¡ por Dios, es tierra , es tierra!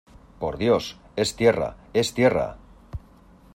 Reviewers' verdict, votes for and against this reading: accepted, 2, 0